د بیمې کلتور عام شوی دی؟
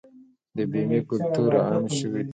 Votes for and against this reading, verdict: 1, 2, rejected